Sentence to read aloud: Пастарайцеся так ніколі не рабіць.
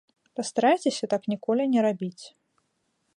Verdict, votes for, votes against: accepted, 2, 0